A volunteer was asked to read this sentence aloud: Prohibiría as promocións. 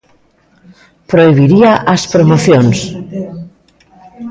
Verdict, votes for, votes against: accepted, 2, 0